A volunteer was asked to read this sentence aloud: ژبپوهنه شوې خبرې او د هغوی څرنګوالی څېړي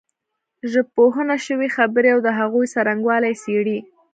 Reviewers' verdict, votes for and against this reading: accepted, 2, 0